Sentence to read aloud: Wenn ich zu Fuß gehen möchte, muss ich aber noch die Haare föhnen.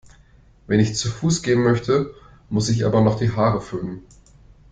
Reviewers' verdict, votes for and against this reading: accepted, 2, 0